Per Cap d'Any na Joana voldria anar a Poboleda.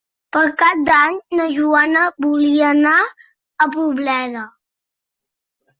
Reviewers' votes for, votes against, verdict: 0, 2, rejected